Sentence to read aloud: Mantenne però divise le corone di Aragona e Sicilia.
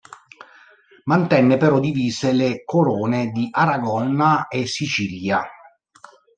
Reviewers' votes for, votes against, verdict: 0, 3, rejected